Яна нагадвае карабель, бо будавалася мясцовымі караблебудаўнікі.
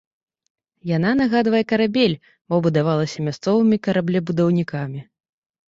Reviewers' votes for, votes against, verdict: 0, 2, rejected